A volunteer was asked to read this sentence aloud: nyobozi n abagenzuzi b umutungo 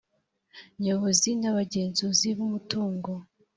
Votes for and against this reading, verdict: 2, 0, accepted